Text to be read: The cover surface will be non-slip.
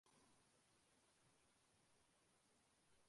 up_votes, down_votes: 0, 2